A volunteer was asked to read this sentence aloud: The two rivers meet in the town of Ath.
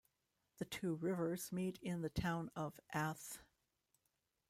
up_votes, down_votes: 2, 0